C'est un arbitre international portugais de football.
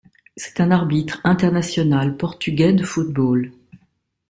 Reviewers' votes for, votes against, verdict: 3, 0, accepted